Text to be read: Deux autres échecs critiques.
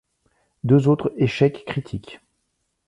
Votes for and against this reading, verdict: 2, 1, accepted